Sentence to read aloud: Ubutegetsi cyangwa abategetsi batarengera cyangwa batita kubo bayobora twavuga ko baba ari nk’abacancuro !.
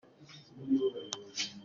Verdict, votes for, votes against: rejected, 0, 2